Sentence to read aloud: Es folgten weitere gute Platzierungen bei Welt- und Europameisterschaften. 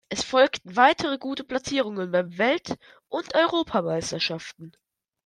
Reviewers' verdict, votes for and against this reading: rejected, 1, 2